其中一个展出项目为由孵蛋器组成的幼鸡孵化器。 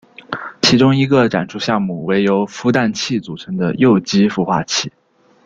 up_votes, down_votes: 2, 0